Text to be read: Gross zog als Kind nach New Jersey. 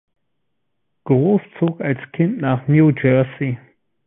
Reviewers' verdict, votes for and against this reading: accepted, 2, 0